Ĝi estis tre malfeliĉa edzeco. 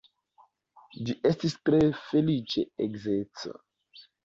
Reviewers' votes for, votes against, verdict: 0, 2, rejected